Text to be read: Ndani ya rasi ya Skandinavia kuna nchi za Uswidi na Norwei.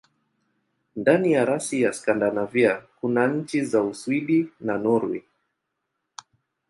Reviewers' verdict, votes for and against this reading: accepted, 2, 1